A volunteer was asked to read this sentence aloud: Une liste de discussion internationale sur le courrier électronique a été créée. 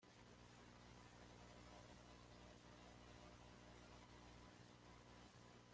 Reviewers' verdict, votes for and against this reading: rejected, 0, 2